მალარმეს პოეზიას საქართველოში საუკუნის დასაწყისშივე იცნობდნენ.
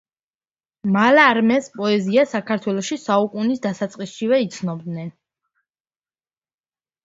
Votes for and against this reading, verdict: 1, 2, rejected